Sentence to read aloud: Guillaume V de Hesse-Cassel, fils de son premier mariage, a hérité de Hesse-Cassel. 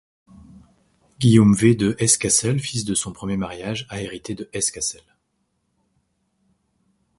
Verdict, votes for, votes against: rejected, 1, 2